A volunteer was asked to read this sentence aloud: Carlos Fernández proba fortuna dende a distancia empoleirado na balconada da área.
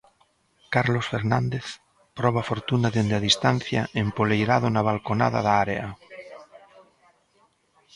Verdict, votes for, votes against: rejected, 1, 2